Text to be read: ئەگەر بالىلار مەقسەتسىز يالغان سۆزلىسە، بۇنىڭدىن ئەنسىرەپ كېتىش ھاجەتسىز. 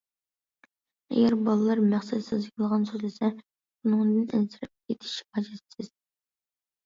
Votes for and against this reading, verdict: 0, 2, rejected